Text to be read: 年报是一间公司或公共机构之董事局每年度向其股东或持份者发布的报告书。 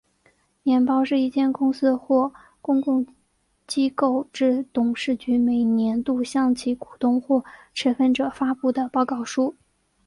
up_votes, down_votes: 2, 1